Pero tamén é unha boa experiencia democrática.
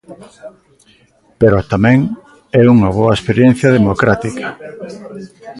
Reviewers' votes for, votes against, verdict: 2, 0, accepted